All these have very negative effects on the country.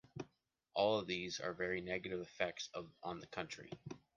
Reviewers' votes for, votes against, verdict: 0, 2, rejected